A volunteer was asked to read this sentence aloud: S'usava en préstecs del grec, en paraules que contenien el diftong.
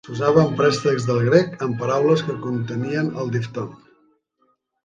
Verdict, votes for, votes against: rejected, 1, 2